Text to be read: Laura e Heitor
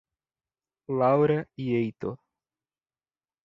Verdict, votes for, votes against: rejected, 1, 2